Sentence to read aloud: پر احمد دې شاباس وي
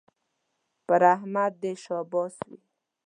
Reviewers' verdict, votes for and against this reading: accepted, 2, 0